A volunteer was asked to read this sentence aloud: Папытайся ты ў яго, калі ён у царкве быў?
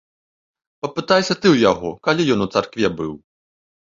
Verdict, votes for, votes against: accepted, 2, 0